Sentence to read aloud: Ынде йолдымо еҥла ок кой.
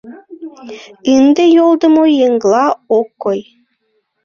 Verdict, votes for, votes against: rejected, 0, 2